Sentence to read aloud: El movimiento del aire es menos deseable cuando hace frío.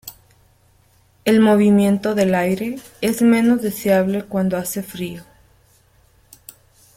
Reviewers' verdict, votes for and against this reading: accepted, 2, 0